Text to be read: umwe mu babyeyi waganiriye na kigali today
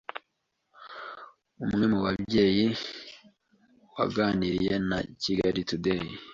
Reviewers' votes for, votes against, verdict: 2, 0, accepted